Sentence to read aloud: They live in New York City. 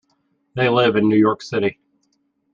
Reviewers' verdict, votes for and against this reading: accepted, 2, 0